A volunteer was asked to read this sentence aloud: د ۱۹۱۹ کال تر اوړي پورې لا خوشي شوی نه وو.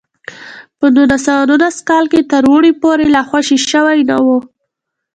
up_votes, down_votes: 0, 2